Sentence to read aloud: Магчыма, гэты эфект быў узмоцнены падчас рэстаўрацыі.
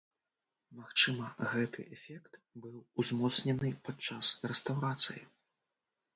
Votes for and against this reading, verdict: 0, 2, rejected